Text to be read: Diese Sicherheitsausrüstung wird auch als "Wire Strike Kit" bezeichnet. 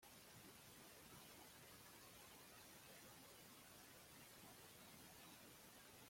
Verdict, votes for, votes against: rejected, 0, 2